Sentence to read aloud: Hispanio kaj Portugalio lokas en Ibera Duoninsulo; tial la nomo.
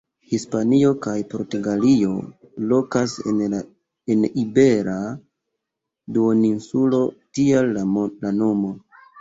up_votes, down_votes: 0, 2